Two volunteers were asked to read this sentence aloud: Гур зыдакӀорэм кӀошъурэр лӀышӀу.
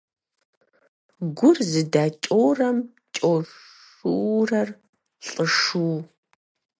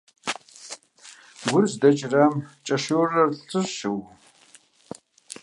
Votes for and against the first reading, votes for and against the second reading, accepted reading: 4, 2, 1, 2, first